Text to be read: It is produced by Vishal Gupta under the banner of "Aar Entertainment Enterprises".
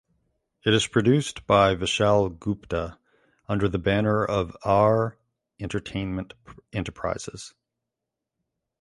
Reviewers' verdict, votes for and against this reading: accepted, 2, 0